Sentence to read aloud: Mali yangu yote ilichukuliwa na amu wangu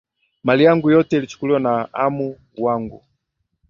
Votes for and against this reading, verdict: 2, 0, accepted